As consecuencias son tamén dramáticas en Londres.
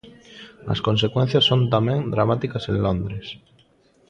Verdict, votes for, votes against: accepted, 2, 0